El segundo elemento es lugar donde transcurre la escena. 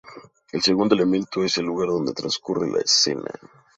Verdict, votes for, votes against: rejected, 0, 2